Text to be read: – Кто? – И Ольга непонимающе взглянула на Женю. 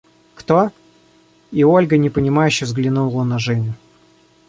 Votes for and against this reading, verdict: 2, 0, accepted